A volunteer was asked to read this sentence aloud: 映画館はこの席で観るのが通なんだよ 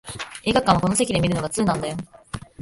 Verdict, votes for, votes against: rejected, 0, 2